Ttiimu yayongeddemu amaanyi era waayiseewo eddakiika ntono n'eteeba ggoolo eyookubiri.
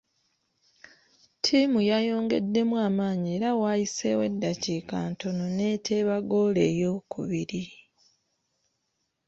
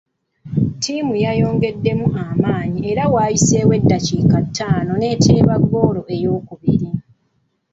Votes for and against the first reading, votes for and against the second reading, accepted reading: 2, 0, 0, 2, first